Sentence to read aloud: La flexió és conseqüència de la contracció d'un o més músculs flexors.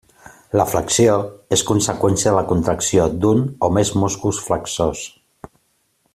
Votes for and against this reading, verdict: 2, 0, accepted